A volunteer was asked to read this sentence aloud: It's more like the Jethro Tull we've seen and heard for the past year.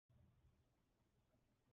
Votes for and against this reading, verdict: 0, 2, rejected